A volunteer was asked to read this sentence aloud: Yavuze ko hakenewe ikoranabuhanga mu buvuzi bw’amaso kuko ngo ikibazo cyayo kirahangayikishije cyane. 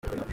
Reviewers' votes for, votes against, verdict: 0, 2, rejected